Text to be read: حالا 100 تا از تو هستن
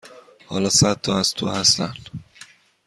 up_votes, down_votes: 0, 2